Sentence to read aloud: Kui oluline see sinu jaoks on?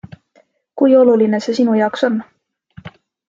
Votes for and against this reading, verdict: 2, 0, accepted